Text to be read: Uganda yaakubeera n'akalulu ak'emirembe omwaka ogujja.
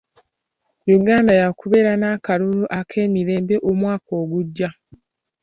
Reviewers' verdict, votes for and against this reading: accepted, 2, 0